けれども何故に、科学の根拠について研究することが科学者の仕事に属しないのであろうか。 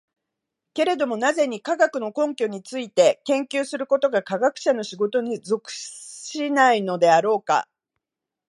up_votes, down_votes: 3, 0